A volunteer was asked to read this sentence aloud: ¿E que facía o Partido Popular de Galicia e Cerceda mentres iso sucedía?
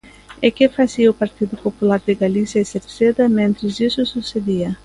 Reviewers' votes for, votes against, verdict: 2, 0, accepted